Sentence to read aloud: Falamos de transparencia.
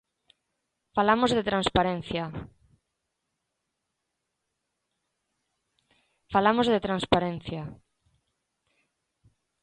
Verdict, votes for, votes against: rejected, 1, 2